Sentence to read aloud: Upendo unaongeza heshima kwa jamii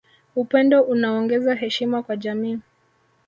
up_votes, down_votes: 2, 0